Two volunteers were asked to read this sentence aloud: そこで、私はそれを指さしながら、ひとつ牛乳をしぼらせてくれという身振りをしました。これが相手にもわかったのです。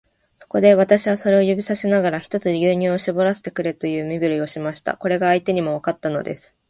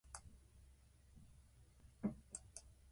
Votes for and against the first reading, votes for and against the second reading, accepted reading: 2, 0, 1, 2, first